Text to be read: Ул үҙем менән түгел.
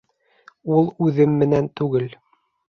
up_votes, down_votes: 2, 0